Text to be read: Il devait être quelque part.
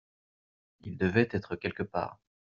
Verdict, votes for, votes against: accepted, 2, 0